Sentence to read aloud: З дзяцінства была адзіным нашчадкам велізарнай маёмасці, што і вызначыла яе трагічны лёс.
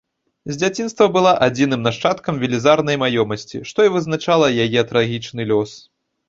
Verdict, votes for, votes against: rejected, 1, 2